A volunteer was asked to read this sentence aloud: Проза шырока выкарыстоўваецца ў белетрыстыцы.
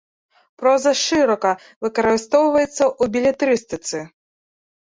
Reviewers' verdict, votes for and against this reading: rejected, 1, 2